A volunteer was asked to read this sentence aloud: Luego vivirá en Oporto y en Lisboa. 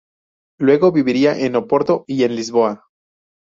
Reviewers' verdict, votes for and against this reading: rejected, 2, 2